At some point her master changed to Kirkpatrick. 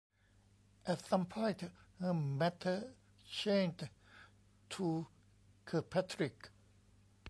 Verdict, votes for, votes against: rejected, 0, 2